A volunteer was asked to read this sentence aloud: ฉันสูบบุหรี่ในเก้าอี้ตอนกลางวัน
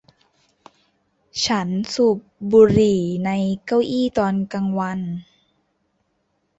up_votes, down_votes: 1, 2